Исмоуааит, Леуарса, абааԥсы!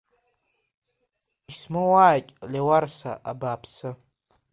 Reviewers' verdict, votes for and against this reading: accepted, 2, 1